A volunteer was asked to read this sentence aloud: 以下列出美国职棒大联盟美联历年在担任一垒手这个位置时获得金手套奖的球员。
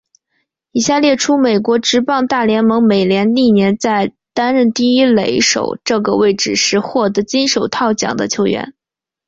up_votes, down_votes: 0, 2